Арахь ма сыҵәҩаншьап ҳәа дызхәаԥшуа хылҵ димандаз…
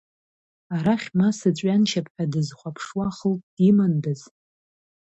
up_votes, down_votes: 2, 1